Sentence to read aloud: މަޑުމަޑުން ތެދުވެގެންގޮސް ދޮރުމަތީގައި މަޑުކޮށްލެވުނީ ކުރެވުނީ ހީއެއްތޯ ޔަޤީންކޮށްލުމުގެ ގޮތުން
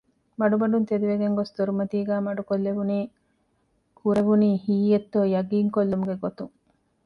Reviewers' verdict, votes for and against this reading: accepted, 2, 0